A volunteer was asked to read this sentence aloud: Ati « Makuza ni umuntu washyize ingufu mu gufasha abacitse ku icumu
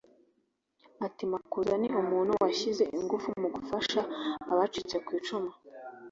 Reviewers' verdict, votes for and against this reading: accepted, 2, 0